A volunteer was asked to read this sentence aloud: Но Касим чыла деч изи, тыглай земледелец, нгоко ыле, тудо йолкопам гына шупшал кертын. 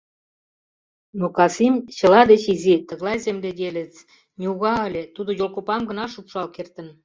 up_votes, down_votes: 0, 2